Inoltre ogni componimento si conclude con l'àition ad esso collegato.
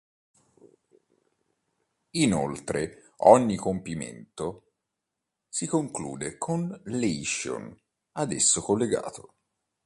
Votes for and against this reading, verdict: 1, 2, rejected